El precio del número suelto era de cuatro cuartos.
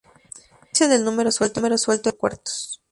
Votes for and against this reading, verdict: 0, 4, rejected